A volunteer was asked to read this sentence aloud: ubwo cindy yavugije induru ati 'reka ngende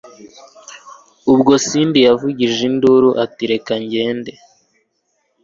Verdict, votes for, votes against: accepted, 2, 0